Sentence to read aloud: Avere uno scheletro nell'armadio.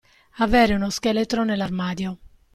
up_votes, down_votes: 2, 0